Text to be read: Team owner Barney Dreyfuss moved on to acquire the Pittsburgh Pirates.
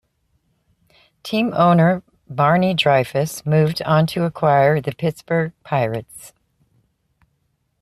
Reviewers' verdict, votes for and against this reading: accepted, 2, 0